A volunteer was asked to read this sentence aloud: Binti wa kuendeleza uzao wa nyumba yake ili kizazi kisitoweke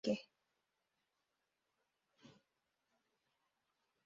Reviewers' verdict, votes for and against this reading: rejected, 1, 2